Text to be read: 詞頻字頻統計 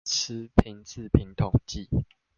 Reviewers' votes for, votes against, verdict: 1, 2, rejected